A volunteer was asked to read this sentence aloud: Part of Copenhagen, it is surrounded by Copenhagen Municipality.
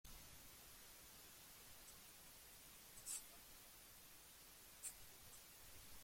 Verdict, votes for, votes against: rejected, 0, 2